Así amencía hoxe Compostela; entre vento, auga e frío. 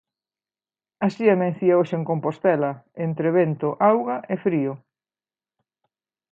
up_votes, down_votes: 1, 2